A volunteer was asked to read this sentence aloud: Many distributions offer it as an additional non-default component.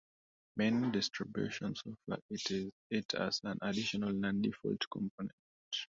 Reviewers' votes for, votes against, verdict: 0, 2, rejected